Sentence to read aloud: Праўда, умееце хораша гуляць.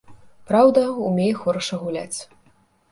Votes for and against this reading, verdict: 0, 2, rejected